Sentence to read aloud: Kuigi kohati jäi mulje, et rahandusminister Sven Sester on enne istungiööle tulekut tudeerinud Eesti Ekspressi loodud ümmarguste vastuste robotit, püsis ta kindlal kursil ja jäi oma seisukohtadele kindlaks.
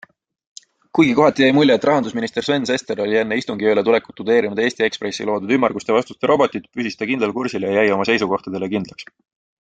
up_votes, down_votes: 3, 0